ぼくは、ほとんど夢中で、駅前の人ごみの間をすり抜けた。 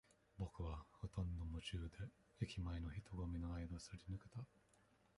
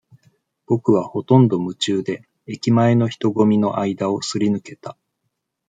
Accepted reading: second